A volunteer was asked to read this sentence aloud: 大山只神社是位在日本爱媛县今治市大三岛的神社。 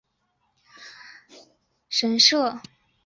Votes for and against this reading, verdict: 0, 2, rejected